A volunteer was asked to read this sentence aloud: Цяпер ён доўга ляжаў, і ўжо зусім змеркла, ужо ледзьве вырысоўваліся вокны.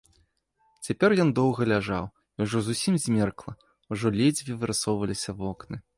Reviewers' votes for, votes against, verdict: 2, 0, accepted